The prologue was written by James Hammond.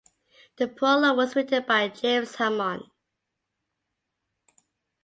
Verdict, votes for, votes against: accepted, 2, 0